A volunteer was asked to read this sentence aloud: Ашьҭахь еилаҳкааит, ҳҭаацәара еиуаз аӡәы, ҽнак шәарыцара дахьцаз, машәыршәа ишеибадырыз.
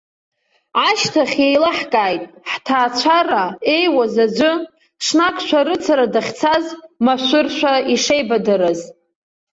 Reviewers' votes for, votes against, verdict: 2, 1, accepted